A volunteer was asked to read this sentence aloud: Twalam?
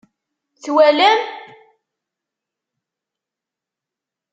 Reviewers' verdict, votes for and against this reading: accepted, 2, 0